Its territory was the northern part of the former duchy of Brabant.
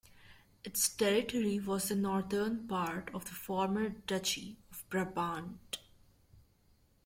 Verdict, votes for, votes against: rejected, 1, 2